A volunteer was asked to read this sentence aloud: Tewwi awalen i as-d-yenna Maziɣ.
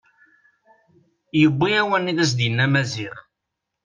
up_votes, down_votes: 1, 2